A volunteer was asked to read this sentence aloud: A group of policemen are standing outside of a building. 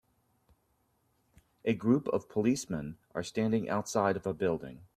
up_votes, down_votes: 3, 0